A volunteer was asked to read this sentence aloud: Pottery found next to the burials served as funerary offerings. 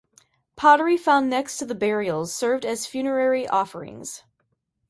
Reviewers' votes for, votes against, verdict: 2, 0, accepted